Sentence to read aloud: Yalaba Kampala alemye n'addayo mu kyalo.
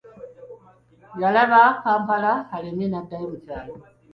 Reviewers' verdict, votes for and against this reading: accepted, 3, 1